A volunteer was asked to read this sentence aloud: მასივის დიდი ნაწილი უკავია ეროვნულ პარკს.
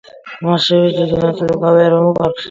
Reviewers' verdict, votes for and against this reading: accepted, 2, 0